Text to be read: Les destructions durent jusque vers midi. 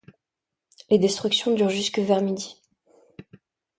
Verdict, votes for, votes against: accepted, 2, 0